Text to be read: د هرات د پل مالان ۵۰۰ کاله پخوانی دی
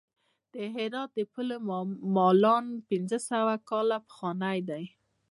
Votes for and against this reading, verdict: 0, 2, rejected